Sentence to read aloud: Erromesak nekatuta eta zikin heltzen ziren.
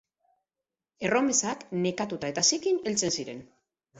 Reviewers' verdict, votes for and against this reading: accepted, 4, 0